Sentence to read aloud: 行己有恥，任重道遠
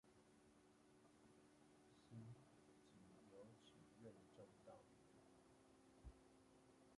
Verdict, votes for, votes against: rejected, 0, 2